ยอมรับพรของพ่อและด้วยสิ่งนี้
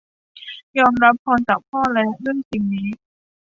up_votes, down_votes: 1, 2